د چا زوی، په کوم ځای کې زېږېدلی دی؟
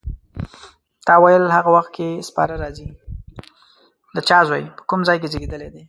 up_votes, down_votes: 1, 2